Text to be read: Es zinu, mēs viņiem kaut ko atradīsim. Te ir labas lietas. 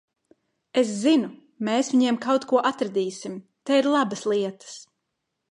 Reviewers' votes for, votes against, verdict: 2, 0, accepted